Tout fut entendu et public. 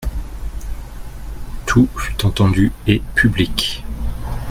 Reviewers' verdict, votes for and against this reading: accepted, 2, 0